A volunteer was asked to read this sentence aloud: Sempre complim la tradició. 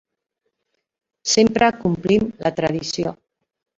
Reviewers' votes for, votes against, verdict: 2, 1, accepted